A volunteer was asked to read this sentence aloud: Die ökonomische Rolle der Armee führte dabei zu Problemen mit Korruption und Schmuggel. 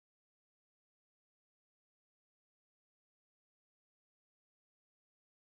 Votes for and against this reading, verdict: 0, 2, rejected